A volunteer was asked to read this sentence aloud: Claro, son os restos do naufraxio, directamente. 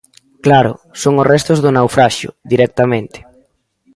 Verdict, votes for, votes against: rejected, 0, 2